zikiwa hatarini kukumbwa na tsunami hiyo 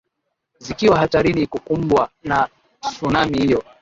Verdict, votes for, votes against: rejected, 2, 3